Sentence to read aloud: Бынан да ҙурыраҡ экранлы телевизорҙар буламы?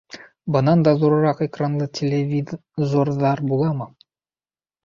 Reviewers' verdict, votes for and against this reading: rejected, 0, 2